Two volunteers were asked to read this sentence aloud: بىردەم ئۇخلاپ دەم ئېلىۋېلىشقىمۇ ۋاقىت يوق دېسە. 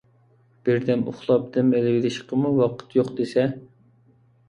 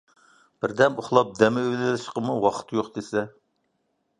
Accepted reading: first